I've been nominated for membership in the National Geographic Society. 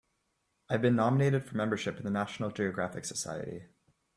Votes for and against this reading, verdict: 2, 0, accepted